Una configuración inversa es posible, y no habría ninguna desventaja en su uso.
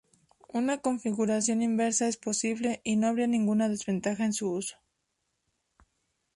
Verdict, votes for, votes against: rejected, 2, 2